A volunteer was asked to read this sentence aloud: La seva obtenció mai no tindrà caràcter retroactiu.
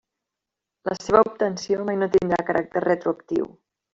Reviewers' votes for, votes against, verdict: 1, 2, rejected